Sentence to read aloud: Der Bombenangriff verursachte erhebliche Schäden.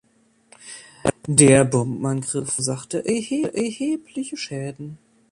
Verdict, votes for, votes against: rejected, 0, 2